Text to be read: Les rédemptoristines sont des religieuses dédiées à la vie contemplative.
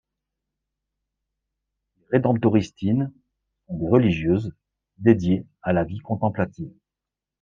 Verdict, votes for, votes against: rejected, 0, 2